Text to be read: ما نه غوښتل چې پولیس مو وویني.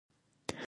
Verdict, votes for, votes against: rejected, 0, 2